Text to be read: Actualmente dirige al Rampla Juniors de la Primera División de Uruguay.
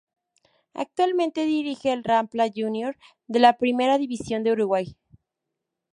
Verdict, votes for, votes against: accepted, 2, 0